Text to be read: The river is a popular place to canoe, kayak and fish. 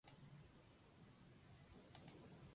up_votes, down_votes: 0, 2